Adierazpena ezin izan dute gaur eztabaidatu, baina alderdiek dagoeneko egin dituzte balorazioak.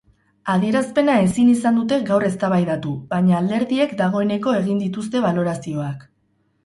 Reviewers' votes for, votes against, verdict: 2, 0, accepted